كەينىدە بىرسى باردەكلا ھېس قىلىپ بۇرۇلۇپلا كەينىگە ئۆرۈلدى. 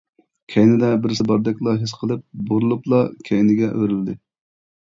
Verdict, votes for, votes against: accepted, 2, 0